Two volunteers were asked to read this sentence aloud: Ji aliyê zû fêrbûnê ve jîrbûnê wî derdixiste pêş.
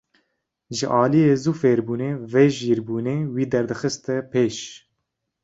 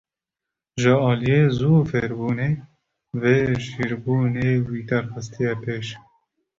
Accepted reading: first